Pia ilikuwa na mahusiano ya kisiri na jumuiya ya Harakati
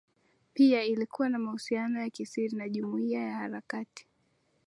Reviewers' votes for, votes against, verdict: 18, 0, accepted